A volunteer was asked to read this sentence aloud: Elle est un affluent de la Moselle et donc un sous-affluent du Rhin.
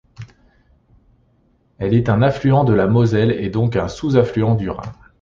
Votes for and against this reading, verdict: 2, 0, accepted